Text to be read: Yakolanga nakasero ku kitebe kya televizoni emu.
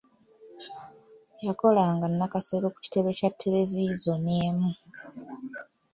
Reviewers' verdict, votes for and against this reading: rejected, 1, 2